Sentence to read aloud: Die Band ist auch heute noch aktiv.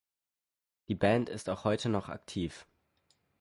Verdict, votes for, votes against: accepted, 4, 0